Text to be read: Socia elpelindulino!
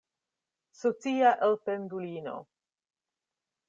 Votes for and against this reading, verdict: 1, 2, rejected